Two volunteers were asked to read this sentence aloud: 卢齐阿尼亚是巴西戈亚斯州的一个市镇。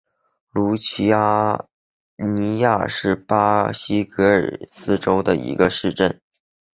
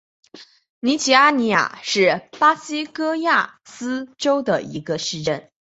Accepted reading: second